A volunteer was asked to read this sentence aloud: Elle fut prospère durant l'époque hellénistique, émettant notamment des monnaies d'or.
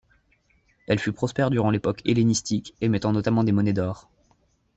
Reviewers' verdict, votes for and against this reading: accepted, 2, 1